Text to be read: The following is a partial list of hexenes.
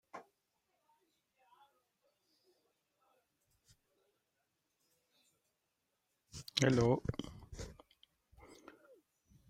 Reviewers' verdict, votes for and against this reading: rejected, 0, 2